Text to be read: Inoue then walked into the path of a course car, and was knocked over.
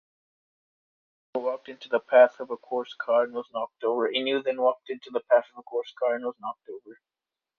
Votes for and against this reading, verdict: 0, 2, rejected